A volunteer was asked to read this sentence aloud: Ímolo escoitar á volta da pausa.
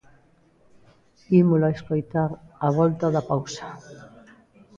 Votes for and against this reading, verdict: 1, 2, rejected